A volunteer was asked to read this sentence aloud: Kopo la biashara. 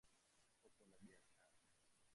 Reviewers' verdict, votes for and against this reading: rejected, 0, 2